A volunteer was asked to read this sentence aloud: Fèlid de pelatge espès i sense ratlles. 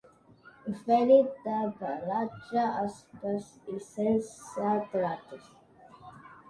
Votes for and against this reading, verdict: 2, 0, accepted